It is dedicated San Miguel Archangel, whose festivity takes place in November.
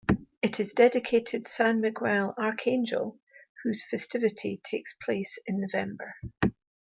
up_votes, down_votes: 0, 2